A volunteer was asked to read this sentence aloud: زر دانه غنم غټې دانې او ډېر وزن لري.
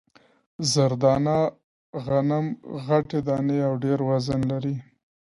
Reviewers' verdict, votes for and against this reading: accepted, 2, 0